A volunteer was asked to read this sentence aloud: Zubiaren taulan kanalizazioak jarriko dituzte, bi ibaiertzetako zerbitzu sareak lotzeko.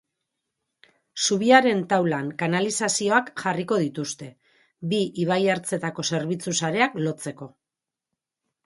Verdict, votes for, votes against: accepted, 4, 2